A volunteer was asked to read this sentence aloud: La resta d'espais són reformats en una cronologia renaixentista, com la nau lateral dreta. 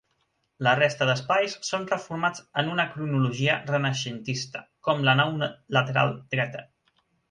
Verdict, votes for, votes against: rejected, 2, 3